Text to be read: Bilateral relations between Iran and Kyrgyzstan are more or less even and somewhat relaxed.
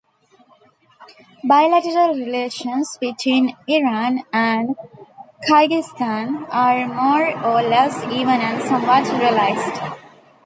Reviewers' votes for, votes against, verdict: 1, 2, rejected